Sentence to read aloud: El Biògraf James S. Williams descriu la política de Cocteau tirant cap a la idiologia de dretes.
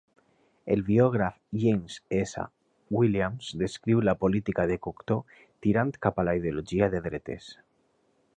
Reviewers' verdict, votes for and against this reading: accepted, 2, 0